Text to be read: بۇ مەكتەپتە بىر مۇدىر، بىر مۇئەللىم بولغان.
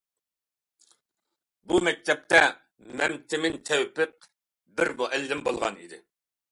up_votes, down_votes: 0, 2